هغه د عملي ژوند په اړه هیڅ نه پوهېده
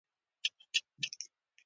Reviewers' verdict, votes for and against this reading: rejected, 0, 2